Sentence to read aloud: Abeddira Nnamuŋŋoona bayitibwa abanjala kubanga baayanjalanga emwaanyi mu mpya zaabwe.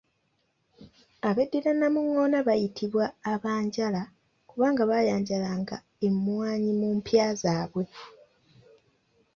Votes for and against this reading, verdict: 2, 0, accepted